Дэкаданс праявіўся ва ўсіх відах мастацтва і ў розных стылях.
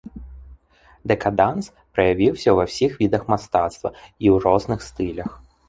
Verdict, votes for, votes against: accepted, 2, 0